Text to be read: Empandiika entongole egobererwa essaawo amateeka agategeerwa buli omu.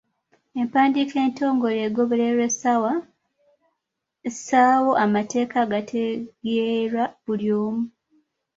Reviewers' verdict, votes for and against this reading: accepted, 2, 1